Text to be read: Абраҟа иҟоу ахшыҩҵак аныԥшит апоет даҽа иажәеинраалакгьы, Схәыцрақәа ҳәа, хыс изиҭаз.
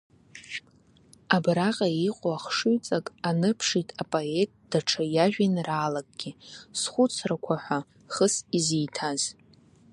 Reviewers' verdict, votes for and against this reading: rejected, 0, 2